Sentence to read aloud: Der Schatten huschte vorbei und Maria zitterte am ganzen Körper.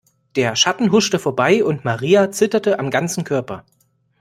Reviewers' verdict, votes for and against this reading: accepted, 2, 0